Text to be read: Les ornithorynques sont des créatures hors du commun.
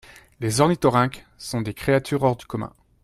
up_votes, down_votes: 2, 0